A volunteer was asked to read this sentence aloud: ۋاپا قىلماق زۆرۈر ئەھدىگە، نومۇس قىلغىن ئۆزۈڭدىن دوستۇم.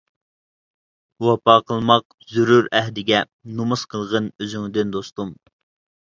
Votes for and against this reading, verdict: 2, 0, accepted